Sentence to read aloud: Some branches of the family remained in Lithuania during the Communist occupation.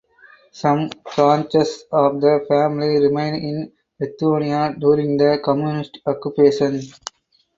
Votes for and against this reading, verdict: 2, 4, rejected